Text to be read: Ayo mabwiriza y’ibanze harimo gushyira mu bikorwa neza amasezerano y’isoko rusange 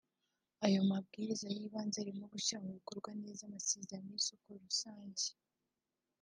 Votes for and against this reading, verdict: 1, 2, rejected